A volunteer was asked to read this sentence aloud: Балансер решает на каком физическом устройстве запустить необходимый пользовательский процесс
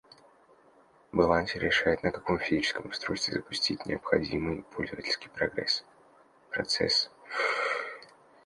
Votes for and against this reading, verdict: 0, 2, rejected